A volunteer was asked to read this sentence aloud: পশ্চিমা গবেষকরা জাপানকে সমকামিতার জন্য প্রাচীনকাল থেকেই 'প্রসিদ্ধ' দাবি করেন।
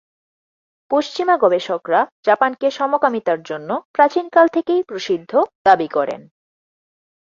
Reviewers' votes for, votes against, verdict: 10, 2, accepted